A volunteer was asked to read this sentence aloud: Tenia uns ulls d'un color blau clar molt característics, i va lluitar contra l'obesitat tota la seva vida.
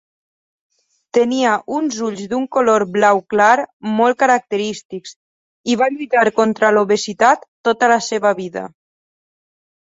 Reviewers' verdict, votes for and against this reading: rejected, 2, 4